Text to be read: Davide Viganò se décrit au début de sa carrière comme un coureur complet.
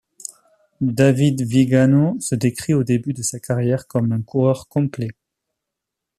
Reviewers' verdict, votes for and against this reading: accepted, 2, 0